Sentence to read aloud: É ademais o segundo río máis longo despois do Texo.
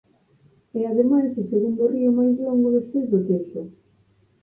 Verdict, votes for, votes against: accepted, 6, 4